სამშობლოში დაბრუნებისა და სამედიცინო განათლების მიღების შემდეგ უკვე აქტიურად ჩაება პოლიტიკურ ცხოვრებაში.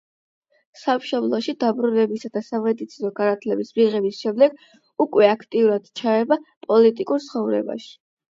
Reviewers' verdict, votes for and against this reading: accepted, 8, 0